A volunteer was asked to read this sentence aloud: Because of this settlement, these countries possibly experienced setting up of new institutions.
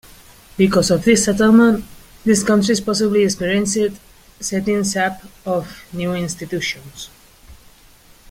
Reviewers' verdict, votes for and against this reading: accepted, 2, 0